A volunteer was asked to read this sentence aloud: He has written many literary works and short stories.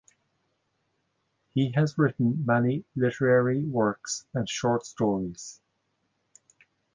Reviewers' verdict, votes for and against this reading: accepted, 2, 0